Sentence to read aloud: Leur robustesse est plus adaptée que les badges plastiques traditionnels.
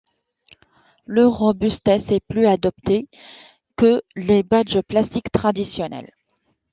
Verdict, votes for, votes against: rejected, 1, 2